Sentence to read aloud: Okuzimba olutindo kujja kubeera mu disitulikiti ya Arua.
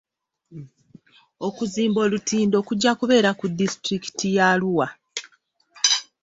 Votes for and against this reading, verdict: 1, 2, rejected